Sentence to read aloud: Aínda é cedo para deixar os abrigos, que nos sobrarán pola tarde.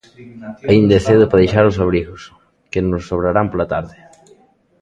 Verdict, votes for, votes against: rejected, 0, 2